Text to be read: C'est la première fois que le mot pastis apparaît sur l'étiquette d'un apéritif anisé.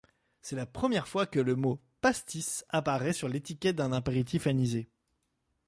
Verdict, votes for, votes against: accepted, 2, 0